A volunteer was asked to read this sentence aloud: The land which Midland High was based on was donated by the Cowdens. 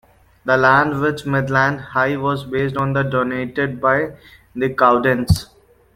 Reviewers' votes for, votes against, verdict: 1, 2, rejected